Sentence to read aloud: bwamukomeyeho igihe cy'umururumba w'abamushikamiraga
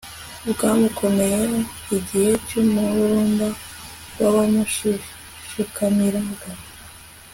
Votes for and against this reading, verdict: 2, 0, accepted